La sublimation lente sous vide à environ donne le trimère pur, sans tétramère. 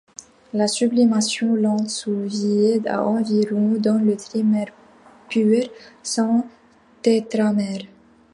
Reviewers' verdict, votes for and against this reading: accepted, 2, 0